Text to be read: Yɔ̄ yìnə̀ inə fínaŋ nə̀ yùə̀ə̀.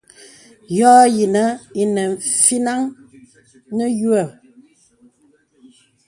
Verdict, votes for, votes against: accepted, 2, 0